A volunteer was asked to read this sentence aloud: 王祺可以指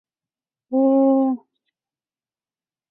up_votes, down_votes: 0, 3